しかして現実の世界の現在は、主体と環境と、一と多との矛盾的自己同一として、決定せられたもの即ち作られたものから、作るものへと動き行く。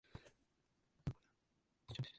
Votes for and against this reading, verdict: 1, 2, rejected